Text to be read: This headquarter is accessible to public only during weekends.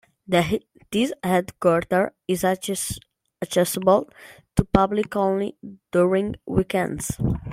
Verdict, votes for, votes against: rejected, 0, 2